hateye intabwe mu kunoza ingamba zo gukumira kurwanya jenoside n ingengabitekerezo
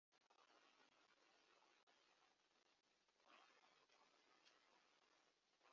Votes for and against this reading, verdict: 0, 2, rejected